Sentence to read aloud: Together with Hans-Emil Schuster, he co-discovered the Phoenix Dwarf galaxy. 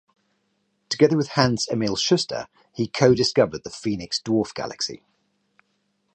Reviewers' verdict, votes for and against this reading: rejected, 2, 2